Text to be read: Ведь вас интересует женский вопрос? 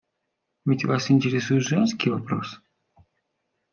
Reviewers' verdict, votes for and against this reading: accepted, 2, 0